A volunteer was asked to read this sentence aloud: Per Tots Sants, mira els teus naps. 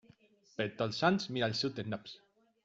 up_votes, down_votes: 0, 2